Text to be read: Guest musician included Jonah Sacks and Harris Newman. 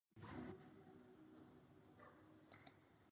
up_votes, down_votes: 0, 2